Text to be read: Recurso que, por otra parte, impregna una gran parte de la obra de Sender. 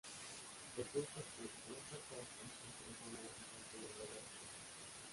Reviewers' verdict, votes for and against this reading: rejected, 0, 2